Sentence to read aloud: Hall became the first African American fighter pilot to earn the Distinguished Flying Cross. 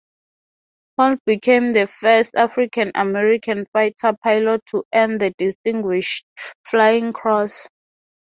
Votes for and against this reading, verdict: 2, 0, accepted